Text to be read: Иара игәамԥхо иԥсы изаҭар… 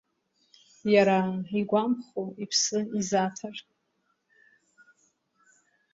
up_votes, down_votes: 2, 1